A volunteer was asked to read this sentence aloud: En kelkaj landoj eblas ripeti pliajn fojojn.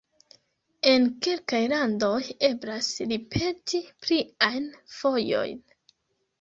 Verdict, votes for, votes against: rejected, 0, 2